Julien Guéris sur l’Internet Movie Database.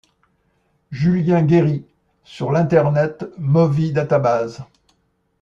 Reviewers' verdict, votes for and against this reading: rejected, 0, 2